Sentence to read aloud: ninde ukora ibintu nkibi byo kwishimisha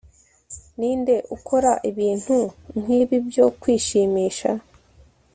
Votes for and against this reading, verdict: 2, 0, accepted